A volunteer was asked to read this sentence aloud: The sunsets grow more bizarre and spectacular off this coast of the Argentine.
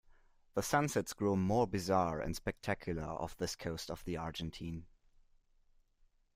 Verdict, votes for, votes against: accepted, 2, 0